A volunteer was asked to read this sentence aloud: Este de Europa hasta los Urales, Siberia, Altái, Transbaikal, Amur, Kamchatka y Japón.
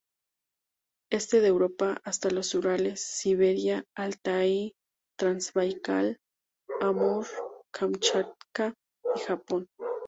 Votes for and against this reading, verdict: 2, 0, accepted